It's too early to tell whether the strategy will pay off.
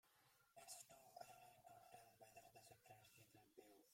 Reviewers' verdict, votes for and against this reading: rejected, 0, 2